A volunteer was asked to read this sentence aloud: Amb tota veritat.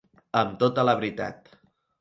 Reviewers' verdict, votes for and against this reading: rejected, 1, 2